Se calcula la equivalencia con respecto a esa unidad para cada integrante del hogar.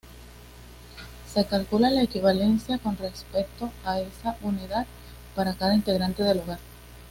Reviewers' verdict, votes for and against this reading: accepted, 2, 0